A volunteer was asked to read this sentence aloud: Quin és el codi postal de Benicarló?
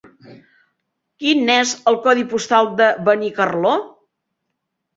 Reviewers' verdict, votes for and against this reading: accepted, 4, 0